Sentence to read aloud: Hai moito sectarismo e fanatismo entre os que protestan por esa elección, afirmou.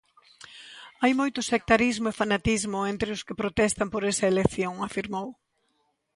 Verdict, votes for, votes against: accepted, 2, 0